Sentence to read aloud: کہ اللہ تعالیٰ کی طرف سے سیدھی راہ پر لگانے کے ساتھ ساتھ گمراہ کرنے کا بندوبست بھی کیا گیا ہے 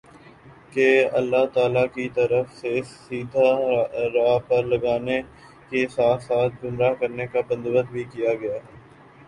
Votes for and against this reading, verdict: 0, 2, rejected